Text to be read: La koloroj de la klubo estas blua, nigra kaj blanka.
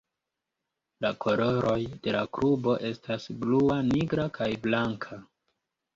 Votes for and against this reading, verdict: 2, 0, accepted